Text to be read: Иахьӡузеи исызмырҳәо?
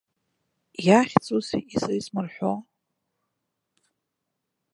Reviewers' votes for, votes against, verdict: 0, 2, rejected